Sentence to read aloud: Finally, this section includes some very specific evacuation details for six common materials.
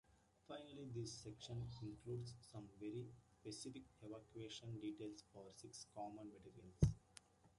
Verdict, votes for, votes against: rejected, 0, 2